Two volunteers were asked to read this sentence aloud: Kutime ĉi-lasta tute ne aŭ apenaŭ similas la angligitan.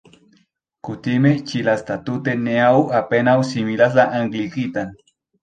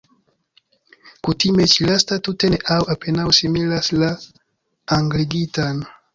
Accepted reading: first